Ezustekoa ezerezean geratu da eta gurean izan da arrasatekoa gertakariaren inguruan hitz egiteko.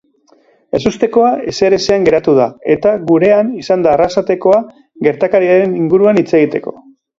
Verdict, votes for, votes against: rejected, 0, 2